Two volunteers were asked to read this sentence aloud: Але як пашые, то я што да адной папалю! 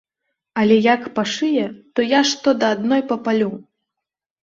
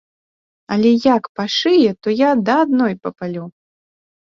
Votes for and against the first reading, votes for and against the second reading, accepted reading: 3, 0, 1, 3, first